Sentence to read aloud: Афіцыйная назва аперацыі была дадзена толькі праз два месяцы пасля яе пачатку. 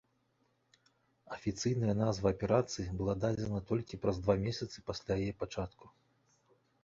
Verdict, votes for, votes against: rejected, 1, 2